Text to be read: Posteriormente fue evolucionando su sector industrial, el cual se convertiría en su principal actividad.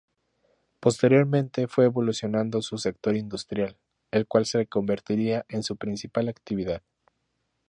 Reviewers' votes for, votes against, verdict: 2, 0, accepted